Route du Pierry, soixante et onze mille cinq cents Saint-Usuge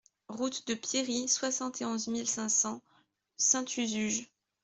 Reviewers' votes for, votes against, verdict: 0, 2, rejected